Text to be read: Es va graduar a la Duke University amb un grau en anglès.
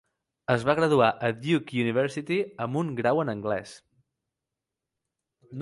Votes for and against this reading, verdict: 0, 2, rejected